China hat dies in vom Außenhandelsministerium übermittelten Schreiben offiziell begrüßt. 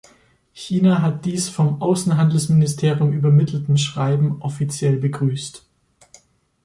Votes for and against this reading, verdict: 0, 2, rejected